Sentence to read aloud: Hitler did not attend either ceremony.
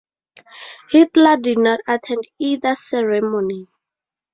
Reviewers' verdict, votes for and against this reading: accepted, 4, 0